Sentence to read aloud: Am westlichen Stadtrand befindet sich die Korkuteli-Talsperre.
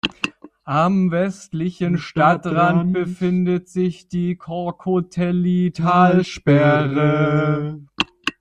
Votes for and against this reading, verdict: 0, 2, rejected